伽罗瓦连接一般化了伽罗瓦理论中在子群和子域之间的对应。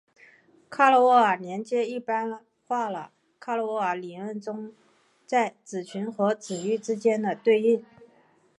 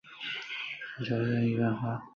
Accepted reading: first